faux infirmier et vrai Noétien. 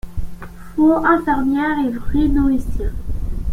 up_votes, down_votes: 0, 2